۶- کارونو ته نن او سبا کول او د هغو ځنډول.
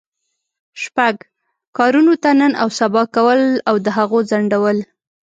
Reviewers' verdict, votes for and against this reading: rejected, 0, 2